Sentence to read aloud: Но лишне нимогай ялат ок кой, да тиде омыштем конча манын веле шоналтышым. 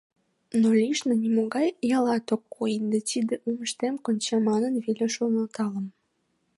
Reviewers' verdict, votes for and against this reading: rejected, 1, 2